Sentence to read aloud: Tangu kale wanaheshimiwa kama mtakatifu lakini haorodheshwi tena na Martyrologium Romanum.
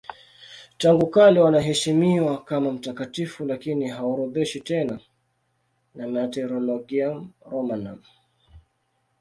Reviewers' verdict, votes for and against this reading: accepted, 2, 0